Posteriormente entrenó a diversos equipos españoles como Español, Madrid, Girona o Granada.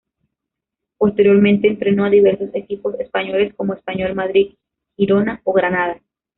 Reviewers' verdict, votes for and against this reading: rejected, 1, 2